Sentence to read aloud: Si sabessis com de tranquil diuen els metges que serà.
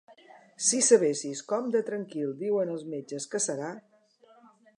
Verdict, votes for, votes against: accepted, 2, 0